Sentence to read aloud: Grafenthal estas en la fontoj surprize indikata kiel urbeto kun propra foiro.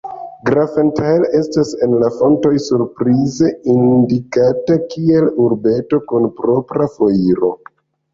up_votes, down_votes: 1, 2